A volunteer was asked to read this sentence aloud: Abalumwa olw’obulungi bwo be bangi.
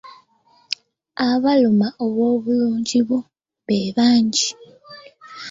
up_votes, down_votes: 1, 2